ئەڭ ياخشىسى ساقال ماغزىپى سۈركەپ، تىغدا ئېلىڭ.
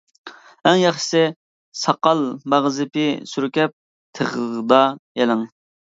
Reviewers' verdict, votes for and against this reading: rejected, 1, 2